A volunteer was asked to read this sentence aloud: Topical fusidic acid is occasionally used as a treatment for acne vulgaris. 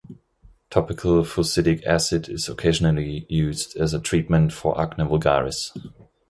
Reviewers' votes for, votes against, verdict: 2, 0, accepted